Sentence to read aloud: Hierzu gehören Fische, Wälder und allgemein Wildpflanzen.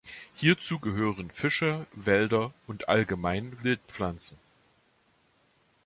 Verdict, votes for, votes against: accepted, 2, 0